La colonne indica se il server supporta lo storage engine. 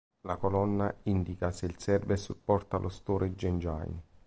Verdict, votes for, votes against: accepted, 2, 0